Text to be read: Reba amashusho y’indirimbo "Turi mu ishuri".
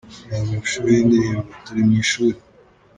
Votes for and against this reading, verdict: 2, 1, accepted